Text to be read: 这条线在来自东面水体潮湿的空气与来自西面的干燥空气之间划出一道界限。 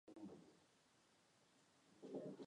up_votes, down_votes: 0, 2